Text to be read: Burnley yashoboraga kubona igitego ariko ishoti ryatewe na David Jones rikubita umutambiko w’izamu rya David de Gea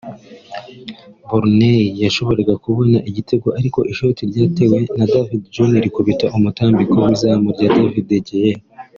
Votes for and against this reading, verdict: 3, 0, accepted